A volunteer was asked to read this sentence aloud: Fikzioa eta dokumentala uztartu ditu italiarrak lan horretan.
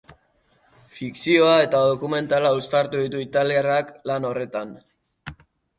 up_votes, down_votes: 2, 0